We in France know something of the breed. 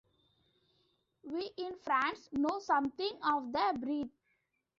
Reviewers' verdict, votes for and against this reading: accepted, 2, 0